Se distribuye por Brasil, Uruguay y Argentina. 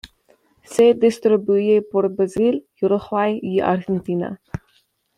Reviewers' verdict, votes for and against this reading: rejected, 0, 2